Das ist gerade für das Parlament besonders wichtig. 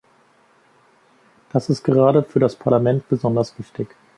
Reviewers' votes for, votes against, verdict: 2, 0, accepted